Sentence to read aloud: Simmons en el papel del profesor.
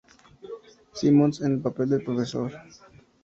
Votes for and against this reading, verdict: 2, 0, accepted